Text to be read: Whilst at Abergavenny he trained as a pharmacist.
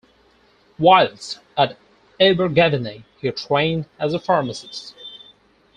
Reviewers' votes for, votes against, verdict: 0, 4, rejected